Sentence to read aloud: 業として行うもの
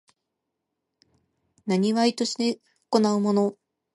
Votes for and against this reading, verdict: 2, 1, accepted